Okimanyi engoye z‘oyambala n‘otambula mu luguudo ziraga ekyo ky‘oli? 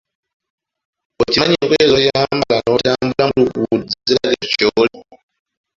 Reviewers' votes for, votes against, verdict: 0, 2, rejected